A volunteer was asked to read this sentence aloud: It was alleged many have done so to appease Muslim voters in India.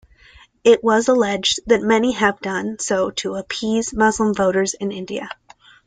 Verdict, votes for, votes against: rejected, 0, 2